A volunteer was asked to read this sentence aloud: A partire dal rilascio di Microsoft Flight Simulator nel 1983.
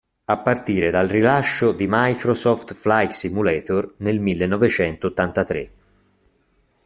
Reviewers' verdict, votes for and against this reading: rejected, 0, 2